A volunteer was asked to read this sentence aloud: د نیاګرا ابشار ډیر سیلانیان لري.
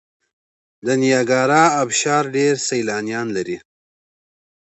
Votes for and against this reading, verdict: 2, 0, accepted